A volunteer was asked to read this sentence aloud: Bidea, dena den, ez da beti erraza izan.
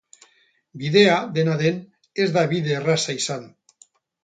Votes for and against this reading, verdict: 2, 2, rejected